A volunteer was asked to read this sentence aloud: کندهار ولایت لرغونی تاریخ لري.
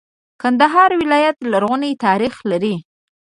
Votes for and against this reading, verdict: 1, 2, rejected